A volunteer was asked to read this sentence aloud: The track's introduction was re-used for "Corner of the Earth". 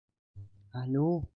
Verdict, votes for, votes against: rejected, 0, 3